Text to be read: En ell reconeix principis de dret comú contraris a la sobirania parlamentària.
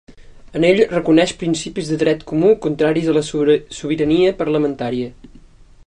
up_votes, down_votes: 0, 2